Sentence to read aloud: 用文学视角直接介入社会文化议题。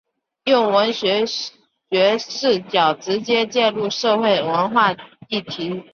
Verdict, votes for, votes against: accepted, 2, 0